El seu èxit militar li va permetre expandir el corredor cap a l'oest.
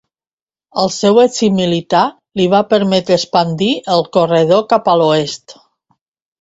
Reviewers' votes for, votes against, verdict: 0, 2, rejected